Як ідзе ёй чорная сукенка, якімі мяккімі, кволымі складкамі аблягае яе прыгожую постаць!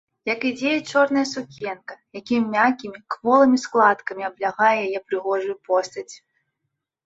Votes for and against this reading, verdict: 2, 0, accepted